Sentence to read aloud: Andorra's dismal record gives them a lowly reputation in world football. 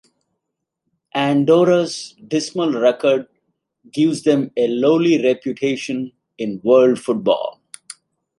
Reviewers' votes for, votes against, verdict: 2, 0, accepted